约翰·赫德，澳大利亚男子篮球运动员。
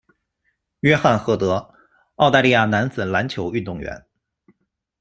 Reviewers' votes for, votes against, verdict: 2, 0, accepted